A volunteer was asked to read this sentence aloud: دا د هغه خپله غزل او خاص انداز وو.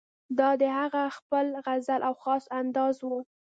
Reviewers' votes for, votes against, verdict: 1, 2, rejected